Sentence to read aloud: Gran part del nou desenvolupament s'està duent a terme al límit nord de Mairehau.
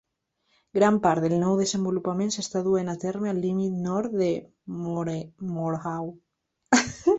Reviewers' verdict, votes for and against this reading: rejected, 0, 2